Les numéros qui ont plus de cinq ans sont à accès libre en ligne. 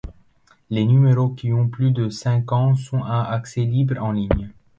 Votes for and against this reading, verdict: 0, 2, rejected